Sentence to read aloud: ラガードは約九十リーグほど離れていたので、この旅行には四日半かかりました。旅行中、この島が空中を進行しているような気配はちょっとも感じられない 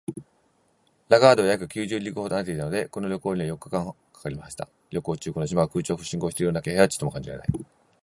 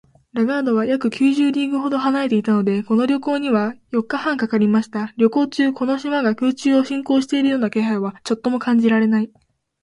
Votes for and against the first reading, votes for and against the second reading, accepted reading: 0, 2, 3, 0, second